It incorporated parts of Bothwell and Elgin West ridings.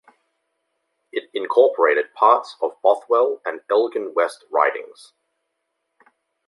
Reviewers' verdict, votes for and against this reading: accepted, 2, 0